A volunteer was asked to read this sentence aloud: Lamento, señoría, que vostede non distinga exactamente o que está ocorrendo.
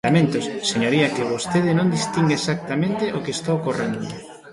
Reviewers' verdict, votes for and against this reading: accepted, 2, 1